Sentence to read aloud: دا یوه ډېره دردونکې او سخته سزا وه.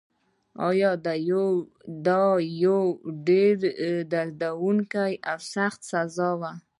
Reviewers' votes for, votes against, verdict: 2, 1, accepted